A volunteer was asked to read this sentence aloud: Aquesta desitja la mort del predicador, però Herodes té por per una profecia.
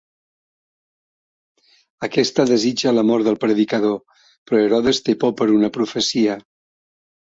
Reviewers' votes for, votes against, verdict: 2, 0, accepted